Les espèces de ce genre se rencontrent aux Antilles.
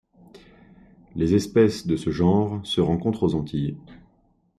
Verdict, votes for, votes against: accepted, 2, 0